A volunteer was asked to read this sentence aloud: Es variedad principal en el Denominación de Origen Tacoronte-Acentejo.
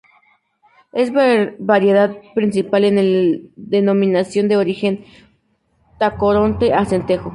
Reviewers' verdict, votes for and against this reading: rejected, 0, 2